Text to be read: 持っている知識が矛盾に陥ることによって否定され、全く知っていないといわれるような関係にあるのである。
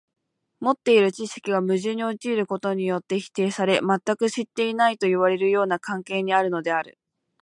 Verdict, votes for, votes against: accepted, 2, 0